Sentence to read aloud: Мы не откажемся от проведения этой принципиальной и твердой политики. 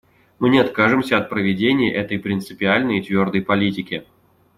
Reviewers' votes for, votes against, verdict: 2, 0, accepted